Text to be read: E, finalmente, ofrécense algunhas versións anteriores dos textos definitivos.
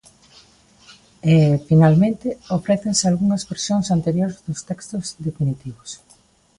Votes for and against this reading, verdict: 2, 0, accepted